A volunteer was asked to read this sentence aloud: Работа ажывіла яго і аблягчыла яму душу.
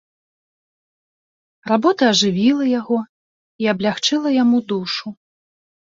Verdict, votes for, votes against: rejected, 0, 2